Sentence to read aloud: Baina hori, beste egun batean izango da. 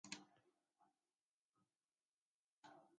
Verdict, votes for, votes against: rejected, 1, 3